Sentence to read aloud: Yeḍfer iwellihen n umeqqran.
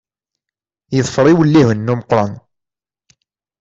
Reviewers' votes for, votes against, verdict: 2, 0, accepted